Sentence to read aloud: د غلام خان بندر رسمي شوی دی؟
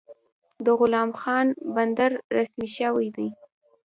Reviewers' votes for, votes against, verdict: 1, 2, rejected